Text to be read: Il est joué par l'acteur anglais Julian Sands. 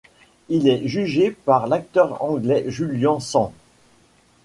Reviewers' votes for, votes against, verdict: 1, 2, rejected